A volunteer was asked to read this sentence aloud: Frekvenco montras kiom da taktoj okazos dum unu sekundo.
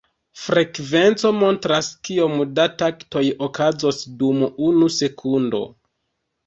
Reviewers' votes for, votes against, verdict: 2, 1, accepted